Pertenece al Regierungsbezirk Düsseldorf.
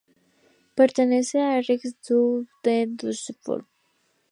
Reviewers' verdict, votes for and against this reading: rejected, 0, 2